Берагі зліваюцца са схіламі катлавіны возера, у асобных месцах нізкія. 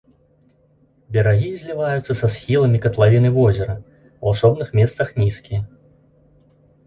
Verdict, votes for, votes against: rejected, 0, 2